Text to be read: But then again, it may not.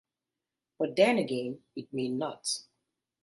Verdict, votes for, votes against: accepted, 2, 0